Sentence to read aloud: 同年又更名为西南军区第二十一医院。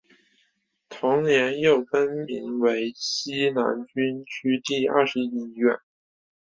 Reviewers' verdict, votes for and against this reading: accepted, 2, 0